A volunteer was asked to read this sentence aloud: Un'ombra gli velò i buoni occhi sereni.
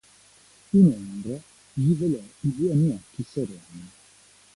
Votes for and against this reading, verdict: 2, 1, accepted